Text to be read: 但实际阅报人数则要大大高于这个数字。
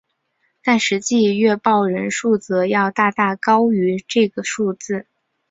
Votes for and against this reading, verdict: 2, 0, accepted